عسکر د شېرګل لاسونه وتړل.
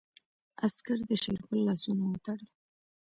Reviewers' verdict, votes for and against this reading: accepted, 2, 0